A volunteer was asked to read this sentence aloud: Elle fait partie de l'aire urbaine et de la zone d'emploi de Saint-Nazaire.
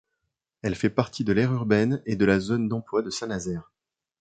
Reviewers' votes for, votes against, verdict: 2, 0, accepted